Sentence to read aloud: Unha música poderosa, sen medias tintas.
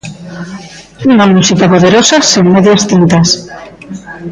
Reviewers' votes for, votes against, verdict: 1, 2, rejected